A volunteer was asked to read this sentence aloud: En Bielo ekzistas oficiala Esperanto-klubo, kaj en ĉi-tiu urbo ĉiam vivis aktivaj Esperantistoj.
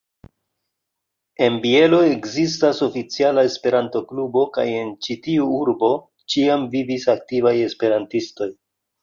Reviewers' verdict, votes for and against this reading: accepted, 2, 0